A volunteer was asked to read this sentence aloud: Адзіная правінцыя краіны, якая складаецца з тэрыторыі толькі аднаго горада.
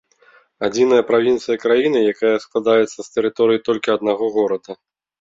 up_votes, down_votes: 2, 0